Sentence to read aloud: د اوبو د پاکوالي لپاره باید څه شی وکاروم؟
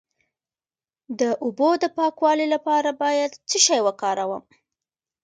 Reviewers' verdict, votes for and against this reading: accepted, 2, 0